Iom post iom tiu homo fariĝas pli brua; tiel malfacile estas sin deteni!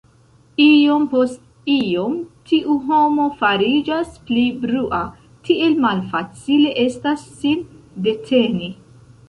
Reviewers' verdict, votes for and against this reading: rejected, 0, 2